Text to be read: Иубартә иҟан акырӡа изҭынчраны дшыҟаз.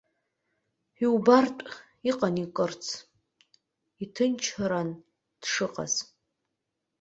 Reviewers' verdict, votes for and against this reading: rejected, 0, 2